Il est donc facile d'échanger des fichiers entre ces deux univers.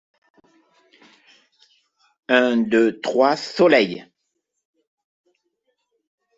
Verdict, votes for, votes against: rejected, 0, 2